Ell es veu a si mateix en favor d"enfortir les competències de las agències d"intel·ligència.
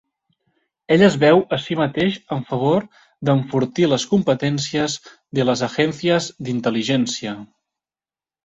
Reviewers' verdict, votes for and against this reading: rejected, 0, 2